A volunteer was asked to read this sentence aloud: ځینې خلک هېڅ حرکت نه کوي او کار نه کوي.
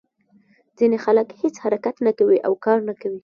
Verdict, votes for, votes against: rejected, 1, 2